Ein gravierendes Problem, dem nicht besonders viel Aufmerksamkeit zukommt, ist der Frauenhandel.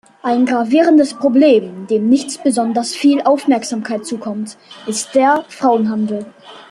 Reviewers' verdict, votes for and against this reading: accepted, 2, 1